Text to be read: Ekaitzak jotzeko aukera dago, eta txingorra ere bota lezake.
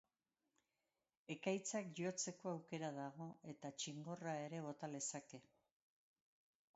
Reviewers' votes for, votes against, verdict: 2, 2, rejected